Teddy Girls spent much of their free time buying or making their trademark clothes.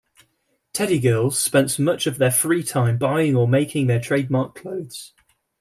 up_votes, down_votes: 2, 0